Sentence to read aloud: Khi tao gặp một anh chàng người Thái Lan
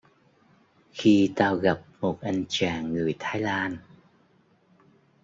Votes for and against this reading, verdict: 2, 0, accepted